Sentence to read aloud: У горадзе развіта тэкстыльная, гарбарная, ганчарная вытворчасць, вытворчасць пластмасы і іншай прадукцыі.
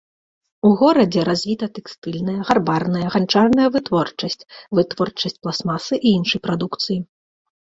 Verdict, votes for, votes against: accepted, 2, 0